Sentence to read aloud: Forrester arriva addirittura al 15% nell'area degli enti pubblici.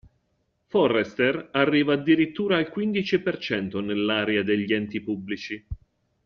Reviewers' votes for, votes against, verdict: 0, 2, rejected